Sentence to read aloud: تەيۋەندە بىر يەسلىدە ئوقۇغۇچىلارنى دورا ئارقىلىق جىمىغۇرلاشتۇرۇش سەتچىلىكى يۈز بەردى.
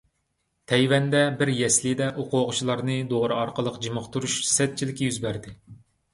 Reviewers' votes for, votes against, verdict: 1, 2, rejected